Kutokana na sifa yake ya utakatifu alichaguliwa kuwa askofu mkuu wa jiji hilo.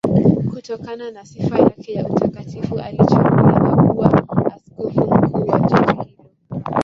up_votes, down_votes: 5, 6